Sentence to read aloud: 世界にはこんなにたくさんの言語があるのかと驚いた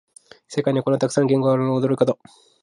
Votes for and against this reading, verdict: 1, 2, rejected